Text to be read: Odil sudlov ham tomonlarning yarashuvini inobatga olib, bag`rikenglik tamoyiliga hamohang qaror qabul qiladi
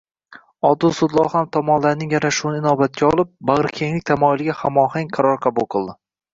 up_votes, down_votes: 1, 2